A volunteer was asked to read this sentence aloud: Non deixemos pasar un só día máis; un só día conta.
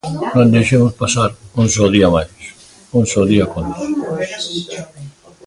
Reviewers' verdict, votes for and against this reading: accepted, 2, 1